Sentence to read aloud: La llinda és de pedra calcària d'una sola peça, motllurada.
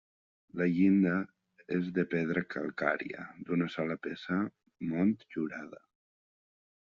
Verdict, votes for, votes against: rejected, 1, 2